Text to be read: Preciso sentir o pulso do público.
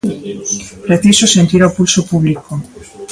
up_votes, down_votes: 0, 2